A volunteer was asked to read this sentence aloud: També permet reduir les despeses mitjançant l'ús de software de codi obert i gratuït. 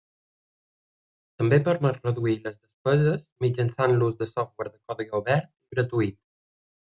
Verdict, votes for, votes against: rejected, 0, 2